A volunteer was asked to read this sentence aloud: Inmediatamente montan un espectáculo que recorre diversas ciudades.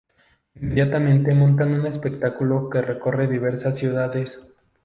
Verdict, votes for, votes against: accepted, 2, 0